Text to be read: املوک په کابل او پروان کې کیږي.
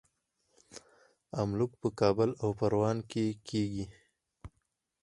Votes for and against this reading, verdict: 4, 0, accepted